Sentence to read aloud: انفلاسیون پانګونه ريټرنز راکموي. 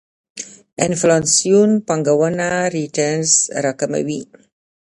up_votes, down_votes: 0, 2